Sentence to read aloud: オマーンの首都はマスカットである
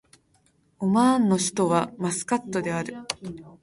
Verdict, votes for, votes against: accepted, 2, 0